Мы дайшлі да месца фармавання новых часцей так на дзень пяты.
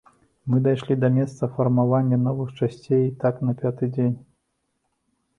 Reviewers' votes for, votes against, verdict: 1, 2, rejected